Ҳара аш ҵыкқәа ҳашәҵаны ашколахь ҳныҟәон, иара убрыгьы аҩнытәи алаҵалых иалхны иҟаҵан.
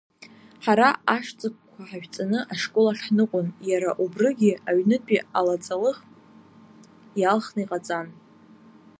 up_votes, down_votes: 2, 0